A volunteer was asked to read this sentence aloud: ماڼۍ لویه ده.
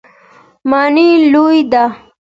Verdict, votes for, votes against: accepted, 2, 0